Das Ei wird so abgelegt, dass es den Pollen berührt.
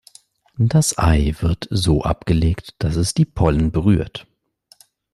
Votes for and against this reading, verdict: 1, 2, rejected